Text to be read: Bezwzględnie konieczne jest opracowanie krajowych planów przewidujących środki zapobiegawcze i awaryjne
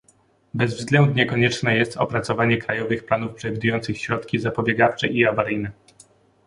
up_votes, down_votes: 2, 0